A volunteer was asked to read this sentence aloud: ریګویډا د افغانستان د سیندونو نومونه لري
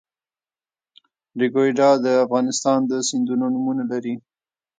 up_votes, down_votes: 0, 2